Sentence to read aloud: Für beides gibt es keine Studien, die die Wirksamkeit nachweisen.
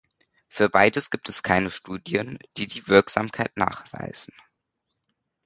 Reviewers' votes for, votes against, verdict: 2, 0, accepted